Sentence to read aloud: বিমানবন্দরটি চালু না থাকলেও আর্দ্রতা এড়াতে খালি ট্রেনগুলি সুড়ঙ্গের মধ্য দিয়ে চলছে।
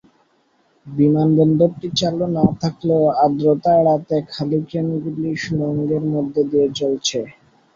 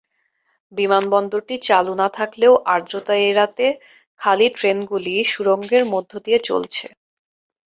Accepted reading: second